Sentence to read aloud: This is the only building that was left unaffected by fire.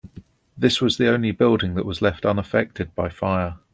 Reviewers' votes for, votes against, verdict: 0, 2, rejected